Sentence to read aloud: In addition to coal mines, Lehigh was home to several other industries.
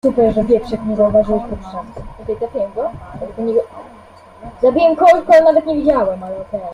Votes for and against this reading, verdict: 0, 2, rejected